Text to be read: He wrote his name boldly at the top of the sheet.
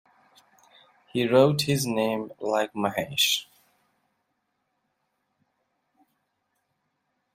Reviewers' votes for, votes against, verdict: 0, 2, rejected